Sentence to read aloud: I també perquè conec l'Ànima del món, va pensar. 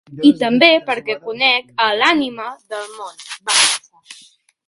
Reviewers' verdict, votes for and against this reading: rejected, 0, 3